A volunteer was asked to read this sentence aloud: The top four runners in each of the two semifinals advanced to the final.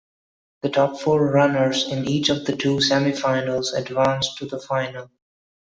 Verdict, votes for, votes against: accepted, 2, 0